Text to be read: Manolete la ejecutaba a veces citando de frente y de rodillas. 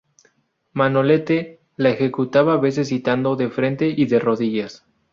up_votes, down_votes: 2, 2